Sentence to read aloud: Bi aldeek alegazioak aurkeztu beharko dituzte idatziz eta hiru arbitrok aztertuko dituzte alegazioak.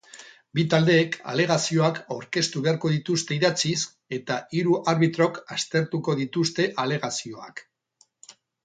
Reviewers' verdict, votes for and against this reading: rejected, 2, 4